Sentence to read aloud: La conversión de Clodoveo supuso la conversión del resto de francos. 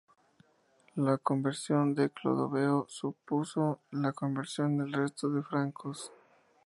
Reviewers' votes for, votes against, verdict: 2, 0, accepted